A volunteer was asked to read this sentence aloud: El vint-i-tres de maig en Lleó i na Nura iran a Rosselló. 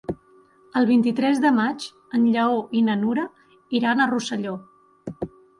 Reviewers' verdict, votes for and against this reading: accepted, 3, 0